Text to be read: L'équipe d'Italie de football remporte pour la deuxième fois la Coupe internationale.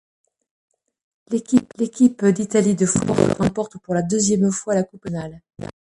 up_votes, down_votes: 0, 2